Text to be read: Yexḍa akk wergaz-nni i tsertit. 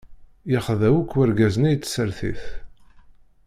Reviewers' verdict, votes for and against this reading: rejected, 0, 2